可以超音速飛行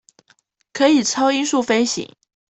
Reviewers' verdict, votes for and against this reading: accepted, 2, 0